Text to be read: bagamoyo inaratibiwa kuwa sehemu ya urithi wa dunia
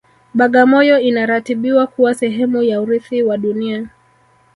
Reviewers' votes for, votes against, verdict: 1, 2, rejected